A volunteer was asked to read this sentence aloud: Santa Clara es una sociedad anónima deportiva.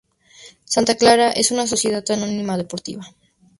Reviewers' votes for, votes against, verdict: 2, 0, accepted